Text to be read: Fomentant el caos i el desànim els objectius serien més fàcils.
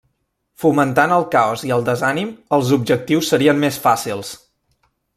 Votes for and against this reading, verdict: 0, 2, rejected